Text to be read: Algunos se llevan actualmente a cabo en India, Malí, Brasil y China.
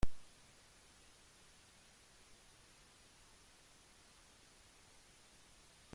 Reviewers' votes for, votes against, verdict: 0, 2, rejected